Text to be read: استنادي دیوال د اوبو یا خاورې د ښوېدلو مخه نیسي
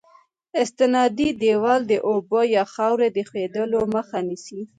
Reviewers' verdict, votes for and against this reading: accepted, 2, 0